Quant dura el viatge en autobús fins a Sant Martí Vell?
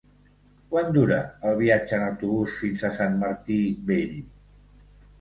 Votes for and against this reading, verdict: 2, 0, accepted